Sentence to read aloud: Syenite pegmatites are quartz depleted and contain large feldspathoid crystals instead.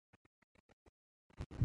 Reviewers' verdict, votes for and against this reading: rejected, 0, 2